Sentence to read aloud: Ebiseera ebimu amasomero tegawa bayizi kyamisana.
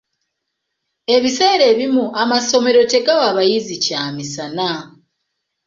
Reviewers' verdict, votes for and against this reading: accepted, 2, 0